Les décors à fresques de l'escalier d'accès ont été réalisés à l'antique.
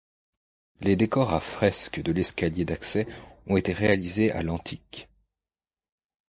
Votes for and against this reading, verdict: 2, 1, accepted